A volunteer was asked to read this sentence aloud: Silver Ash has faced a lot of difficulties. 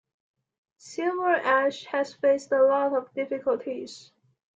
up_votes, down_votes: 2, 0